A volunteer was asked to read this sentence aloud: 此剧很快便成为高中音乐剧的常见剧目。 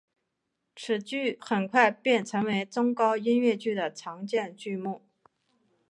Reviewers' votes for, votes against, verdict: 4, 3, accepted